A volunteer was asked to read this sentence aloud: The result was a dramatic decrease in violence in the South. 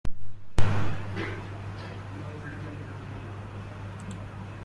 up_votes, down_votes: 0, 2